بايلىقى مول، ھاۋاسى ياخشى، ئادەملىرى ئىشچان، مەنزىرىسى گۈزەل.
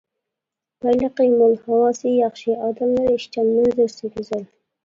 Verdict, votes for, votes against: rejected, 0, 2